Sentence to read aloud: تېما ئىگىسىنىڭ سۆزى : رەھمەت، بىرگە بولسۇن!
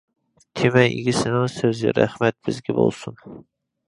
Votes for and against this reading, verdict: 0, 2, rejected